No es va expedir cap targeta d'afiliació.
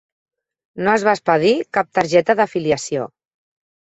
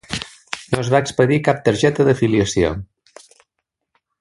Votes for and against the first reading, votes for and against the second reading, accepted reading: 1, 2, 2, 1, second